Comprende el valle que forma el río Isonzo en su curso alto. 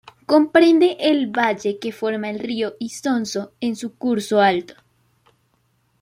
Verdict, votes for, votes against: accepted, 2, 0